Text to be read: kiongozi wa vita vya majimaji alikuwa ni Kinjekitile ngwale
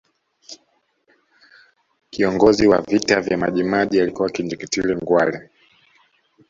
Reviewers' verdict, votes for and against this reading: accepted, 2, 0